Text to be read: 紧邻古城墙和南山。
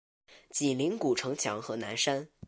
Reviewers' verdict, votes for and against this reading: accepted, 3, 0